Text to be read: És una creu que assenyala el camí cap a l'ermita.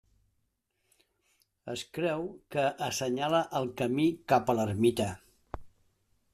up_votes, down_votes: 0, 2